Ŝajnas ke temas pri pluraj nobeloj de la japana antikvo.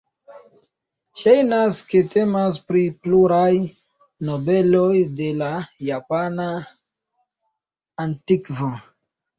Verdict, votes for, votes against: accepted, 2, 1